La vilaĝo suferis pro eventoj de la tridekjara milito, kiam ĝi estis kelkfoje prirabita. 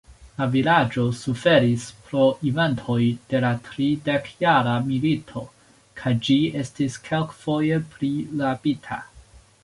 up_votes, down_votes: 1, 2